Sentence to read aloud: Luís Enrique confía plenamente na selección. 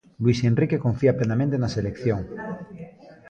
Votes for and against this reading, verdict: 1, 2, rejected